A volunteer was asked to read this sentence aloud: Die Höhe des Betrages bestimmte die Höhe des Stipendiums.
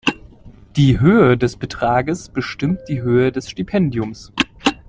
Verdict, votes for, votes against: accepted, 2, 1